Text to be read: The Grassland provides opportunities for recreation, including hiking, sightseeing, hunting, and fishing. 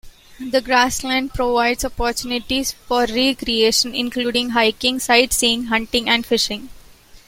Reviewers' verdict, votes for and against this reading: accepted, 2, 0